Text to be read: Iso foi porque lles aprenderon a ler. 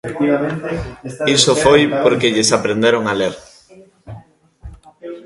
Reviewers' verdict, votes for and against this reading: rejected, 0, 2